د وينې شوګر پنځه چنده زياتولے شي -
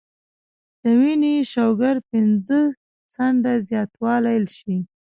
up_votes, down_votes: 0, 2